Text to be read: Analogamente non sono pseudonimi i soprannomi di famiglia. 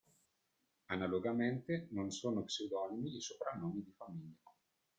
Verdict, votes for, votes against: rejected, 1, 2